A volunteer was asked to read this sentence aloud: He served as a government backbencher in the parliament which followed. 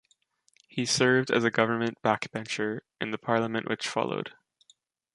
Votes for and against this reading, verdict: 2, 1, accepted